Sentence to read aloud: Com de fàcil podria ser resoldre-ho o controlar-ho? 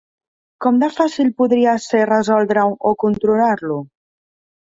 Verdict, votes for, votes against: rejected, 1, 2